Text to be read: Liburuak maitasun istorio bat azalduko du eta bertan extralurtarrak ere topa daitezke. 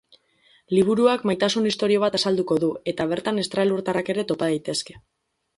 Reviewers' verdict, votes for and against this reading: accepted, 4, 0